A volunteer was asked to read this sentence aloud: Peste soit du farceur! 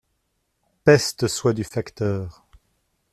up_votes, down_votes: 0, 2